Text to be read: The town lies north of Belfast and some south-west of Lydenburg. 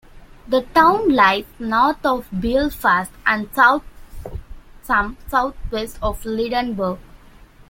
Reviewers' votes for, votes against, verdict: 0, 2, rejected